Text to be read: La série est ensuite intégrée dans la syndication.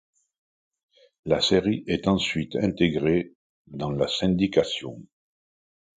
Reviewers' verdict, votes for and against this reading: accepted, 2, 0